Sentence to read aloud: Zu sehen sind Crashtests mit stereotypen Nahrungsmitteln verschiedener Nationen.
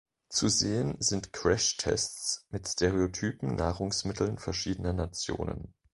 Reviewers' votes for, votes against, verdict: 2, 0, accepted